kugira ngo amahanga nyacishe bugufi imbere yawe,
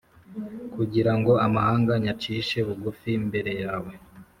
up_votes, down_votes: 3, 0